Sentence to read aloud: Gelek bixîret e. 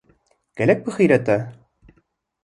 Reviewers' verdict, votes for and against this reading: accepted, 2, 0